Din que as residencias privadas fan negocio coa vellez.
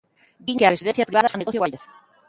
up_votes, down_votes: 0, 3